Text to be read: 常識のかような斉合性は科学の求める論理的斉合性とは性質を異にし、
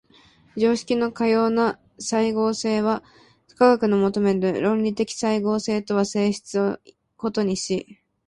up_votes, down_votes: 2, 1